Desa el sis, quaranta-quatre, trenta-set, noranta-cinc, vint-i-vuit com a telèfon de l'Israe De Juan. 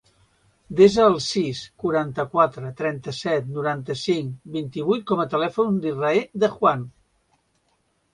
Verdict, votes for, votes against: accepted, 2, 0